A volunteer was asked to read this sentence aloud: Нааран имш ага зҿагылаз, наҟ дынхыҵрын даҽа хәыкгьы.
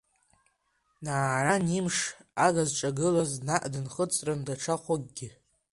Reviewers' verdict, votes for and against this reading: rejected, 3, 4